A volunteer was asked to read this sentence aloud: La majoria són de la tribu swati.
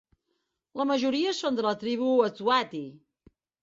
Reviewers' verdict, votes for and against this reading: rejected, 1, 2